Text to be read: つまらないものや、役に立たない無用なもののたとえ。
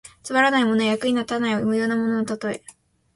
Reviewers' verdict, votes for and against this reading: accepted, 2, 1